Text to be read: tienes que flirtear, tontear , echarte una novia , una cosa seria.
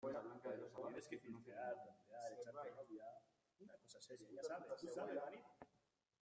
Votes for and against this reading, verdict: 0, 2, rejected